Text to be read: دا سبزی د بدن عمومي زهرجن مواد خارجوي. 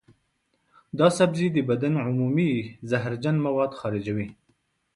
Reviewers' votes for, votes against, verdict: 2, 0, accepted